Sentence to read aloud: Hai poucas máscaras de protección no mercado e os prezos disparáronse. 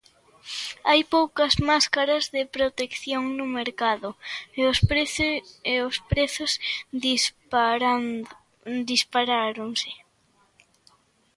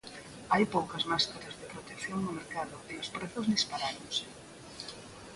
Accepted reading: second